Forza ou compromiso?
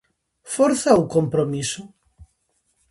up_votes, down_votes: 2, 0